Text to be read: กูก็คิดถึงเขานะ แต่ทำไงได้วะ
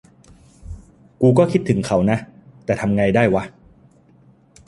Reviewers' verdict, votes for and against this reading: accepted, 2, 0